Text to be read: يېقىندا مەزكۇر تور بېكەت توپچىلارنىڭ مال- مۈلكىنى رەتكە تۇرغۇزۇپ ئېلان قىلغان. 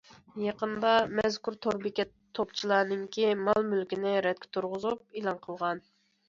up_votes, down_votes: 1, 2